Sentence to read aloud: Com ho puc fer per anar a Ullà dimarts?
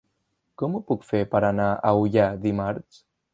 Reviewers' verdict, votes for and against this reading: accepted, 3, 0